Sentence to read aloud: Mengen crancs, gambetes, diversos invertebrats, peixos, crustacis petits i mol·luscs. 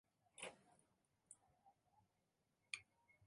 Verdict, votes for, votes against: rejected, 0, 4